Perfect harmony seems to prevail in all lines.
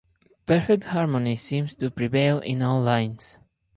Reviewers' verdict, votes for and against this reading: accepted, 4, 0